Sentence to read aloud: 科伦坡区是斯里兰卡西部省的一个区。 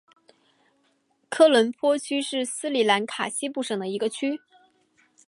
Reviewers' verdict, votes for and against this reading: accepted, 2, 0